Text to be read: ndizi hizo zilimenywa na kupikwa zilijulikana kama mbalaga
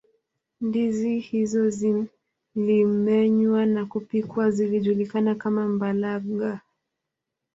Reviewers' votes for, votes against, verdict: 2, 1, accepted